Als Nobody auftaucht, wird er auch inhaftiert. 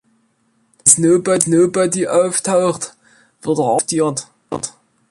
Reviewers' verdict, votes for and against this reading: rejected, 0, 2